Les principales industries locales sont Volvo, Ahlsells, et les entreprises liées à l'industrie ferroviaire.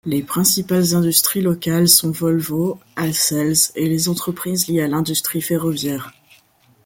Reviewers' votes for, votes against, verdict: 2, 0, accepted